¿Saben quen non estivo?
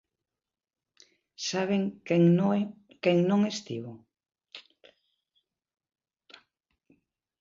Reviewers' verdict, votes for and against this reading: rejected, 0, 2